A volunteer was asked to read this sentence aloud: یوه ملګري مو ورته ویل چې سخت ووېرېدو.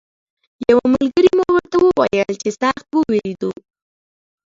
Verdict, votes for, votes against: rejected, 1, 2